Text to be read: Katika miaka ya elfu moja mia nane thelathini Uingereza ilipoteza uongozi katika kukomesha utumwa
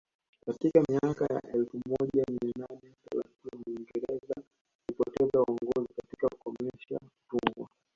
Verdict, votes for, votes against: accepted, 2, 1